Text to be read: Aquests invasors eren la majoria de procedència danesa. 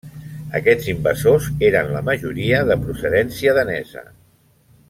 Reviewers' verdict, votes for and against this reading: rejected, 1, 2